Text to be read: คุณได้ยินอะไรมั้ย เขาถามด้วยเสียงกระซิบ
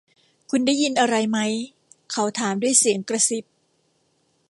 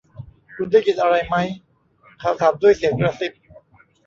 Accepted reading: first